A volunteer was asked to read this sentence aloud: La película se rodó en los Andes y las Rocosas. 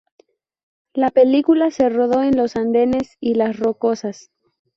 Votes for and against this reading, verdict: 0, 2, rejected